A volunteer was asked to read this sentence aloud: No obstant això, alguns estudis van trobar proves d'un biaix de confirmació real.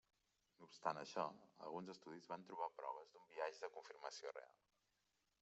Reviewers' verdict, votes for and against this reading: rejected, 0, 2